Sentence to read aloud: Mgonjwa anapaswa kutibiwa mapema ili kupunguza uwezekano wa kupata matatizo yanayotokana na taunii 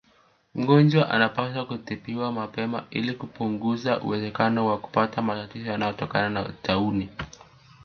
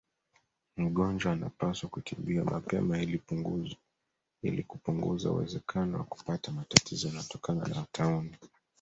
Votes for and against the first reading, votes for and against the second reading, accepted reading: 2, 0, 1, 2, first